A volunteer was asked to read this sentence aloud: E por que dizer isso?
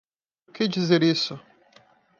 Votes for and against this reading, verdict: 0, 2, rejected